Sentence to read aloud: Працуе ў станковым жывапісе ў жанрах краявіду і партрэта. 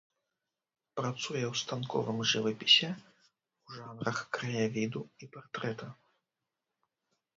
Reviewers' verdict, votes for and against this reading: rejected, 1, 2